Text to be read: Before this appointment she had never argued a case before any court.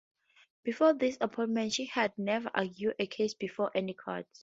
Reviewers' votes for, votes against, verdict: 0, 4, rejected